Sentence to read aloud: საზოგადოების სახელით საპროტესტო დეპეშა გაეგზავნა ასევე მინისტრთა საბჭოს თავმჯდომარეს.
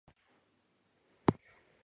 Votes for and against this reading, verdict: 1, 2, rejected